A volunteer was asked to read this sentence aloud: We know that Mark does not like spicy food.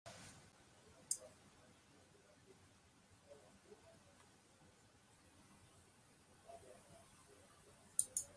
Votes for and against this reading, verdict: 0, 2, rejected